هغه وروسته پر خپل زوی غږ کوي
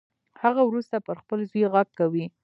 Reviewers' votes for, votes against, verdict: 2, 0, accepted